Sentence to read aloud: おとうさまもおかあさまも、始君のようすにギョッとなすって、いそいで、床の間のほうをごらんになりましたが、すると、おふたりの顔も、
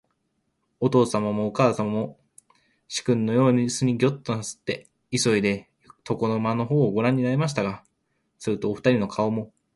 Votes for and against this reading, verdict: 2, 0, accepted